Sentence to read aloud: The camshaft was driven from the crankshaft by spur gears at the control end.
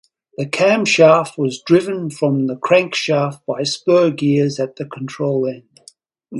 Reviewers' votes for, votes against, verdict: 2, 0, accepted